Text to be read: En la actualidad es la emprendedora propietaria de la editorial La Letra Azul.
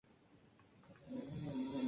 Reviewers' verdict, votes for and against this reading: rejected, 0, 2